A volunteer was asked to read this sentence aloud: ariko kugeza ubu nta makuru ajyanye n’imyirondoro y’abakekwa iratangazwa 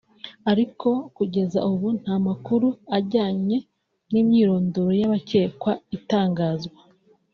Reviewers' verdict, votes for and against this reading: rejected, 1, 3